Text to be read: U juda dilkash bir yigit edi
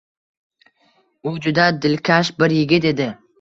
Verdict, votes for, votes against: accepted, 2, 0